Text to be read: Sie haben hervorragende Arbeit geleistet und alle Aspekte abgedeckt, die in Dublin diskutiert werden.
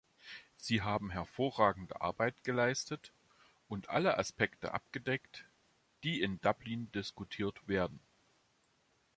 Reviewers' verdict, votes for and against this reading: accepted, 2, 0